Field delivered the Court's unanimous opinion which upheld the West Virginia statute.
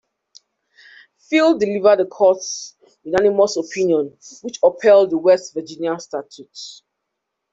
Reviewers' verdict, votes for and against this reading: accepted, 2, 0